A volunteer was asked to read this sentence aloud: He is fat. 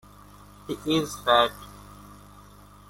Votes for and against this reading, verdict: 1, 2, rejected